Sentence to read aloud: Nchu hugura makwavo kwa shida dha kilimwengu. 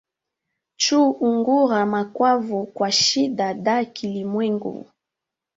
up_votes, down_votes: 0, 2